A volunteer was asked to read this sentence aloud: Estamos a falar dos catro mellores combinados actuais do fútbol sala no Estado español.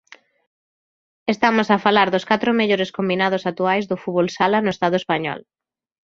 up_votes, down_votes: 2, 0